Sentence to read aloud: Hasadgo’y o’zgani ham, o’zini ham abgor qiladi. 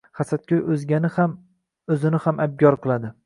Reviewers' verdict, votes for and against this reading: accepted, 2, 0